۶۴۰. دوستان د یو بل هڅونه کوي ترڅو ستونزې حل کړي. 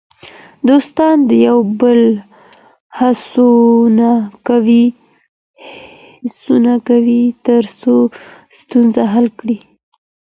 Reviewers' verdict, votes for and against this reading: rejected, 0, 2